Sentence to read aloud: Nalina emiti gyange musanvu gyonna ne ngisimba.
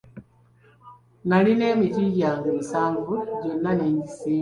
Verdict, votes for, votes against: rejected, 0, 2